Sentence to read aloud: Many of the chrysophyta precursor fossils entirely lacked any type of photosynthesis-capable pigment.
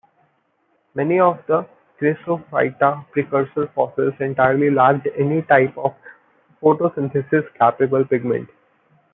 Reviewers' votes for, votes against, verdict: 1, 2, rejected